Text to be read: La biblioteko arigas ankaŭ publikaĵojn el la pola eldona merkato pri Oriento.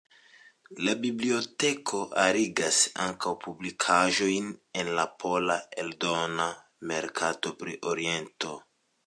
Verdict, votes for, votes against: accepted, 2, 0